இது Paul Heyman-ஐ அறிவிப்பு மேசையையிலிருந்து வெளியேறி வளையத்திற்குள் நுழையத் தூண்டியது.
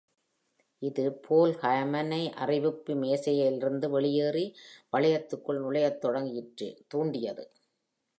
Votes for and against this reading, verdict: 0, 2, rejected